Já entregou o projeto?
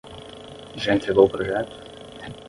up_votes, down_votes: 5, 5